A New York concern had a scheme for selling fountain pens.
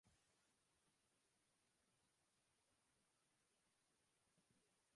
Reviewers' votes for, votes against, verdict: 0, 2, rejected